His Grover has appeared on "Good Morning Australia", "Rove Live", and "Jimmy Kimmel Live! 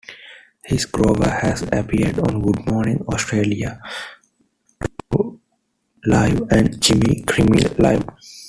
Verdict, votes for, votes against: rejected, 1, 2